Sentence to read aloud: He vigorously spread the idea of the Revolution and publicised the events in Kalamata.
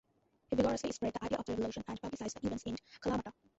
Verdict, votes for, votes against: rejected, 0, 2